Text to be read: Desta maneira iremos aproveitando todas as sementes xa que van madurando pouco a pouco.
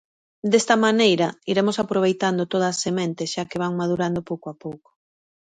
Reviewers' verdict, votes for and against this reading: rejected, 0, 2